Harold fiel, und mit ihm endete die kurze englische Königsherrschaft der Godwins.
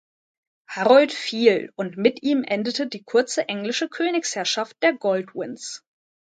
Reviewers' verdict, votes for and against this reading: rejected, 0, 2